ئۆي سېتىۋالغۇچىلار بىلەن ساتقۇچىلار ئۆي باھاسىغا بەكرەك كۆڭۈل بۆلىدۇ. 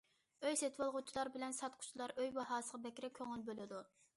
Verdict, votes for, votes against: accepted, 2, 0